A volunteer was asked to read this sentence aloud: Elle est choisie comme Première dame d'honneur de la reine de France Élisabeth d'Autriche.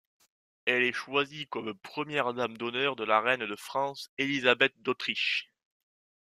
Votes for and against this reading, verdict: 1, 2, rejected